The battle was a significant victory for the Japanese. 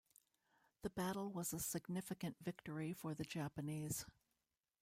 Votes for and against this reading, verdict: 1, 2, rejected